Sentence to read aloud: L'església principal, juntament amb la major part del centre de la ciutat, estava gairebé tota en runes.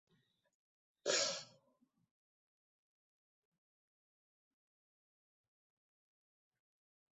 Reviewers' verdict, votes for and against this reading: rejected, 1, 2